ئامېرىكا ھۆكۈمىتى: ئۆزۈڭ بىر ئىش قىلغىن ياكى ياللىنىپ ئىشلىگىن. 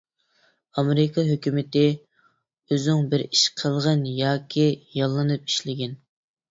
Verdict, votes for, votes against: accepted, 2, 0